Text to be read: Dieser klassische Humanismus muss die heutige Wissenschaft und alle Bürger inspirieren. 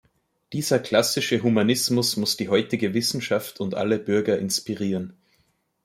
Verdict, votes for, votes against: accepted, 2, 0